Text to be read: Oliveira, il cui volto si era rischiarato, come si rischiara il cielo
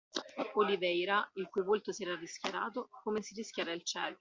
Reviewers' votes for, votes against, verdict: 2, 0, accepted